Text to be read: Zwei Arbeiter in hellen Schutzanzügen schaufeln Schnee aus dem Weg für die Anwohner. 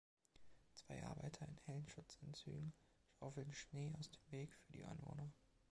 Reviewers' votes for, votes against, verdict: 2, 3, rejected